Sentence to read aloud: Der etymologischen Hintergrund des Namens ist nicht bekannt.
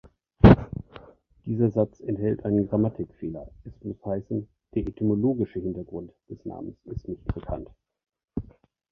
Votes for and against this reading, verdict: 0, 2, rejected